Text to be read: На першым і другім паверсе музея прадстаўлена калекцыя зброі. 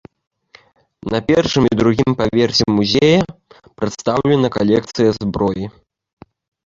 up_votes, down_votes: 1, 2